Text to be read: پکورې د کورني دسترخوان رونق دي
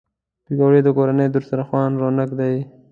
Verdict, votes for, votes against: accepted, 2, 0